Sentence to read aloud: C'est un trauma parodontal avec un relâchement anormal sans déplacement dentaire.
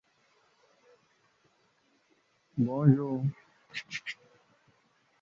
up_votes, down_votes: 0, 2